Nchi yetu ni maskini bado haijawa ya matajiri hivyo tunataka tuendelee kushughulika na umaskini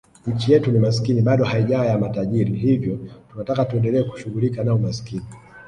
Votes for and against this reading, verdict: 1, 2, rejected